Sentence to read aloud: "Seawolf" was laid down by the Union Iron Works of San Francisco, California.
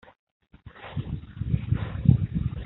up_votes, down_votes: 0, 2